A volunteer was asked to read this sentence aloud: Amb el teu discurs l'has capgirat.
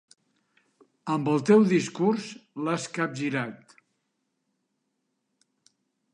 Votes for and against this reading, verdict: 2, 0, accepted